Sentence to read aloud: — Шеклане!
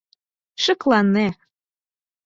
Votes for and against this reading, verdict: 4, 0, accepted